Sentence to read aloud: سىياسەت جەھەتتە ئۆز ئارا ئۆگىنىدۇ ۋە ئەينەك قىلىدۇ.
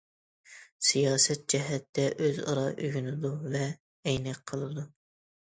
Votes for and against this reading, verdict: 2, 0, accepted